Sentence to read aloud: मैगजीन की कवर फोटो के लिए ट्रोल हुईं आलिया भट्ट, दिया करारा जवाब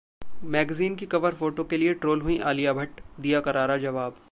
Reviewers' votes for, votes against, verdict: 2, 0, accepted